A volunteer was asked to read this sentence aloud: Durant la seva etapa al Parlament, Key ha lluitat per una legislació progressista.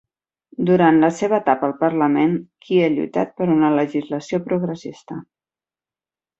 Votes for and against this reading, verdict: 4, 0, accepted